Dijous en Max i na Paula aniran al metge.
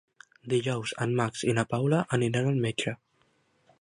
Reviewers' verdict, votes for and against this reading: accepted, 3, 0